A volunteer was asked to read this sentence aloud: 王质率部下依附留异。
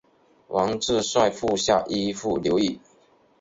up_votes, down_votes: 6, 1